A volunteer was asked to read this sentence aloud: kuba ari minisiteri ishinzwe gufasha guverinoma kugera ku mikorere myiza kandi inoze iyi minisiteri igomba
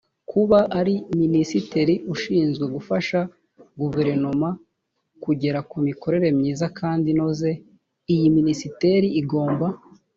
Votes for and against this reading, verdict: 1, 2, rejected